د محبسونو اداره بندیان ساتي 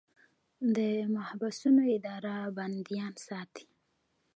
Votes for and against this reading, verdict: 0, 2, rejected